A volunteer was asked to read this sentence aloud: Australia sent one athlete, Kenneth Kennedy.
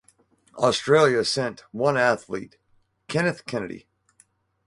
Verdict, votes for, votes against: accepted, 2, 0